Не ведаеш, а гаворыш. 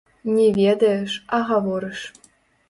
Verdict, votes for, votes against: rejected, 0, 2